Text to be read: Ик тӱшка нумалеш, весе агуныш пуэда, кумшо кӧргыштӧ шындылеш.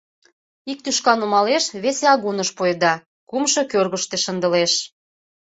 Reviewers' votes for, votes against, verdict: 2, 0, accepted